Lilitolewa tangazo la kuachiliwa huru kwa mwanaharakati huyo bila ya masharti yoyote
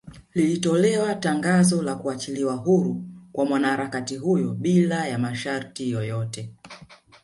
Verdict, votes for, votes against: rejected, 2, 3